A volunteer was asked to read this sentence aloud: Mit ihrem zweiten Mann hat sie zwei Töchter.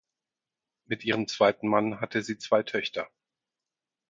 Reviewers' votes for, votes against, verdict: 0, 4, rejected